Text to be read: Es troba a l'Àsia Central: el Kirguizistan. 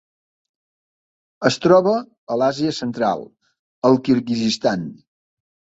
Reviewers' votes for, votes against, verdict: 3, 0, accepted